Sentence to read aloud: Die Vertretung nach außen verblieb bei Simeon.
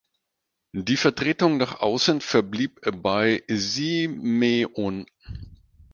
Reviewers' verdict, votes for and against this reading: rejected, 0, 4